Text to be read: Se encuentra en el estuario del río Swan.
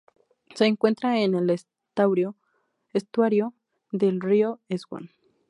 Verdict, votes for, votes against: rejected, 0, 2